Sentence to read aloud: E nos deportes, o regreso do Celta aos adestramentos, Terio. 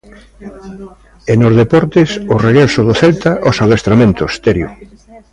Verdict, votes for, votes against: rejected, 1, 2